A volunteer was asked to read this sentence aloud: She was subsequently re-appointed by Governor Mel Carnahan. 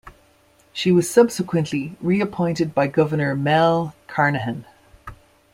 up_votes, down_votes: 2, 0